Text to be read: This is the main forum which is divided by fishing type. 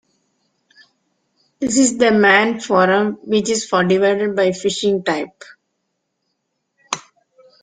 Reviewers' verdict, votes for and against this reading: rejected, 1, 4